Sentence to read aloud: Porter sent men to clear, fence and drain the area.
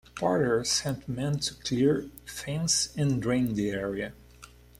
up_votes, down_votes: 2, 0